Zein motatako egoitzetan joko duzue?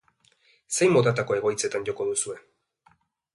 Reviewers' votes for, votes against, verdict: 2, 0, accepted